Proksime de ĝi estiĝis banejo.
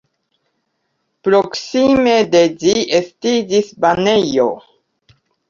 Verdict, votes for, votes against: accepted, 2, 0